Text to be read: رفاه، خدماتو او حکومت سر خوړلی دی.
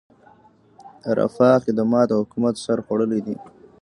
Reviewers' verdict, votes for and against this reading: rejected, 1, 2